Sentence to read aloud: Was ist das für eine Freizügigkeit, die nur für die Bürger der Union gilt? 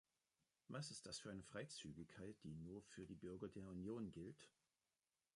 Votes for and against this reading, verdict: 2, 0, accepted